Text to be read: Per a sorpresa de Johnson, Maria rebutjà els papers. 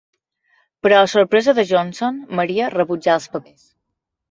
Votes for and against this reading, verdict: 2, 0, accepted